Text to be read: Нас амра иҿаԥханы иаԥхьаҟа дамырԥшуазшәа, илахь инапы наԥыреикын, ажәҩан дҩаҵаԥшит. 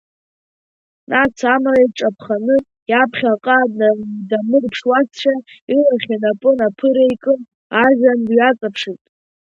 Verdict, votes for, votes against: accepted, 2, 0